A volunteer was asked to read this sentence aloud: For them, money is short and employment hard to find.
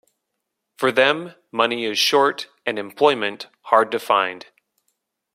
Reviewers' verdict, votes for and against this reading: accepted, 3, 0